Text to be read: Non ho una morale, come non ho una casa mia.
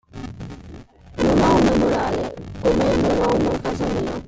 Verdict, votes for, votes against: rejected, 1, 2